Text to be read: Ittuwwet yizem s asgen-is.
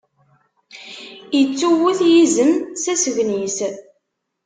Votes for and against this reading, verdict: 2, 0, accepted